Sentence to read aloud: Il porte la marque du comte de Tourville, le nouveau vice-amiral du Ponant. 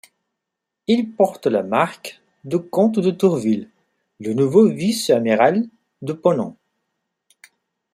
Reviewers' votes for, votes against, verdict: 1, 2, rejected